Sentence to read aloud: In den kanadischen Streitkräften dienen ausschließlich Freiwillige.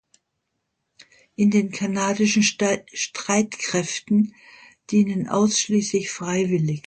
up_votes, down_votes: 1, 2